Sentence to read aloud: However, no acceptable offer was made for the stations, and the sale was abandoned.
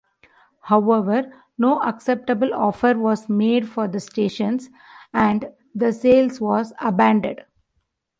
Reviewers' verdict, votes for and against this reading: rejected, 0, 2